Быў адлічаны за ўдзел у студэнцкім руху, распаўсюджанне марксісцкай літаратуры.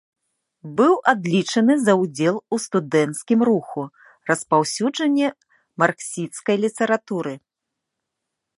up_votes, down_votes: 1, 2